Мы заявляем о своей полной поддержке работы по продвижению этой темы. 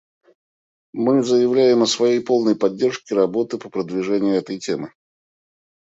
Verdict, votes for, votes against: accepted, 2, 0